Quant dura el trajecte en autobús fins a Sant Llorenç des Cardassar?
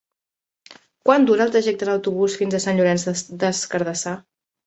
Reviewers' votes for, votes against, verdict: 0, 3, rejected